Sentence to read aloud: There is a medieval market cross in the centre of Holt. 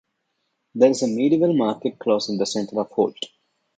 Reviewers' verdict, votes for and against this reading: rejected, 0, 2